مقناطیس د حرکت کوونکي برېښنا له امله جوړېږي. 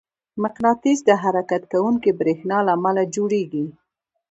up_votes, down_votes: 2, 1